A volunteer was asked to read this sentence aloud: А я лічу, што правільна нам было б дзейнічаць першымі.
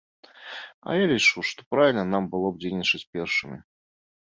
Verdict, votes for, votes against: accepted, 2, 0